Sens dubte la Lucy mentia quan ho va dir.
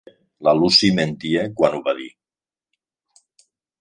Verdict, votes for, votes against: rejected, 0, 3